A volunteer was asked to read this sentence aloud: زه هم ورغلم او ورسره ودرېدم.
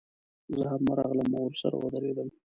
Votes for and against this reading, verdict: 0, 2, rejected